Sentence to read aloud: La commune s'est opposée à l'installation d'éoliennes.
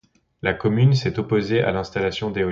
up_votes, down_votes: 0, 2